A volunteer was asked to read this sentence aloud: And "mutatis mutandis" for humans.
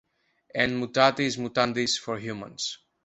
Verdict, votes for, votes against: accepted, 2, 0